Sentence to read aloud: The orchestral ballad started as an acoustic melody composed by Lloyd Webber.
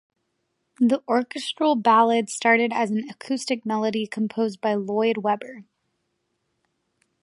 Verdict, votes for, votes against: accepted, 2, 0